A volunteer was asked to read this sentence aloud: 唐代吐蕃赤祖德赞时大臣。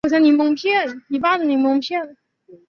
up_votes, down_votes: 0, 3